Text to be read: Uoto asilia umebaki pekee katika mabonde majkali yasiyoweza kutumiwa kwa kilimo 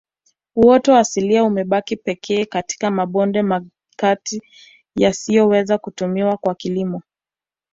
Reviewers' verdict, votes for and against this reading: rejected, 1, 2